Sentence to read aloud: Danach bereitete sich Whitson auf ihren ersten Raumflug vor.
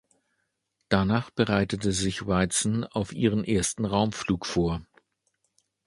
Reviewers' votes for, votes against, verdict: 1, 2, rejected